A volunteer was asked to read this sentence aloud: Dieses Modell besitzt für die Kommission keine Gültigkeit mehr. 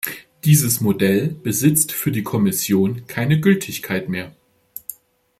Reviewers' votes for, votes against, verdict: 2, 0, accepted